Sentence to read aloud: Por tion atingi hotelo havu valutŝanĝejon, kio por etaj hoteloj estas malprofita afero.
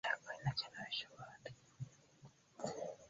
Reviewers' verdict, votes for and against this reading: accepted, 2, 1